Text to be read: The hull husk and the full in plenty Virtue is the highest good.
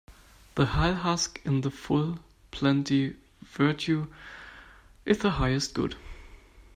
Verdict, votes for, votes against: rejected, 1, 2